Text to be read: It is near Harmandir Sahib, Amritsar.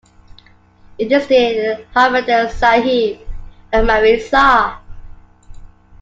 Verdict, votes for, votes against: rejected, 1, 2